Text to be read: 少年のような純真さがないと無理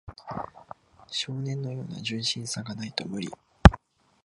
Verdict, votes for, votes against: accepted, 2, 0